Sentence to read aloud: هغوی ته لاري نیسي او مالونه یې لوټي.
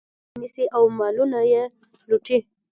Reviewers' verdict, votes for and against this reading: accepted, 2, 0